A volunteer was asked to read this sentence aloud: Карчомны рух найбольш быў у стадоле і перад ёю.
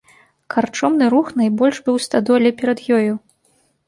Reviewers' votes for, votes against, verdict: 0, 2, rejected